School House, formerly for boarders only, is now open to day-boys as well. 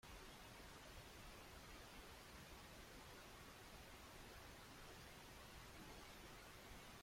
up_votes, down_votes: 0, 3